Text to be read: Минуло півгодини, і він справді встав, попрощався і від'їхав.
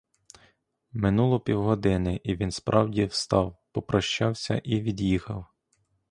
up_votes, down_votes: 2, 0